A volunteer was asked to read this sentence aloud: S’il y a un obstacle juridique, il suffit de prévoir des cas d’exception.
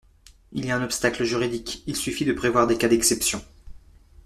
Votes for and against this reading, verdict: 1, 2, rejected